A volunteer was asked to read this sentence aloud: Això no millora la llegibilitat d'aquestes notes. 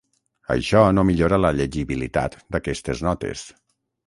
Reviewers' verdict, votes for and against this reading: accepted, 6, 0